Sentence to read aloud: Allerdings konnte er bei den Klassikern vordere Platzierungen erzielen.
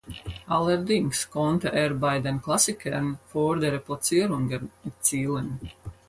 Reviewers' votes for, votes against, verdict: 4, 0, accepted